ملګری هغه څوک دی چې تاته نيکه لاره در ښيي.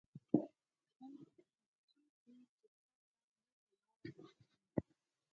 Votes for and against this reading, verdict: 0, 6, rejected